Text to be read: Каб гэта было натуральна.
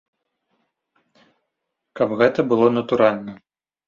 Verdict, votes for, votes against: accepted, 2, 0